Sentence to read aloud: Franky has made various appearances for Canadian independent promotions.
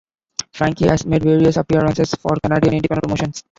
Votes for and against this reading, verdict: 1, 2, rejected